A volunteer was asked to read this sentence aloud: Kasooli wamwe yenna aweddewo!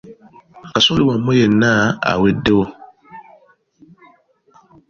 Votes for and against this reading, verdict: 1, 2, rejected